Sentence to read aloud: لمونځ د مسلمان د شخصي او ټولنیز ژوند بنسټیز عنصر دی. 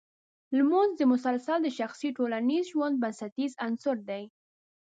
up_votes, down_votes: 2, 3